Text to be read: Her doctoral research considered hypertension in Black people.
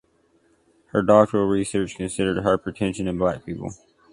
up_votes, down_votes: 2, 0